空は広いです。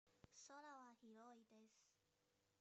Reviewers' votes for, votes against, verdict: 1, 2, rejected